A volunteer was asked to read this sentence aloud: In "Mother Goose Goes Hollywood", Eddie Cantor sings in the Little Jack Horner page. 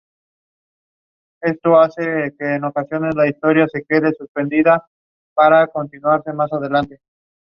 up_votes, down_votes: 0, 2